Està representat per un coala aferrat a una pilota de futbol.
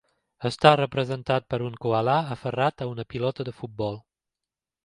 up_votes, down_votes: 2, 0